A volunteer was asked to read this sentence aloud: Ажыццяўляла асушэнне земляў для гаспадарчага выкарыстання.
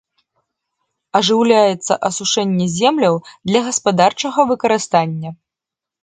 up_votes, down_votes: 1, 2